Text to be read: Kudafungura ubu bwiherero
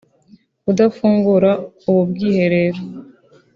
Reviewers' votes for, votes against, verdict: 2, 0, accepted